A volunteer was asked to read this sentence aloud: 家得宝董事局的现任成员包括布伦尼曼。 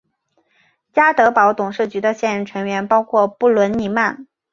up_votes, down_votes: 2, 0